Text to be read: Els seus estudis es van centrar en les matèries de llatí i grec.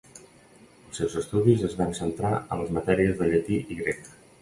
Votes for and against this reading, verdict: 0, 2, rejected